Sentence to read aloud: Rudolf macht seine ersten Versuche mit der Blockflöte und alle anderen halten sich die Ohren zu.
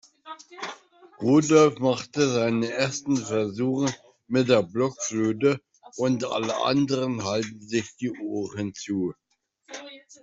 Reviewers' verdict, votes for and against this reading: rejected, 1, 2